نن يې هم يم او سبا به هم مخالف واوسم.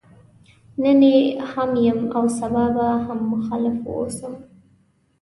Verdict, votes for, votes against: accepted, 2, 1